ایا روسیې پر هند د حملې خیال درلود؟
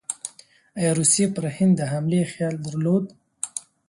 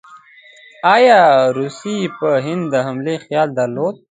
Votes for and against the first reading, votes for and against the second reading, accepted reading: 2, 0, 1, 3, first